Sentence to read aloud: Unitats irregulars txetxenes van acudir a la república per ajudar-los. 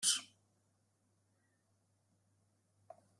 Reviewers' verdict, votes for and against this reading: rejected, 0, 2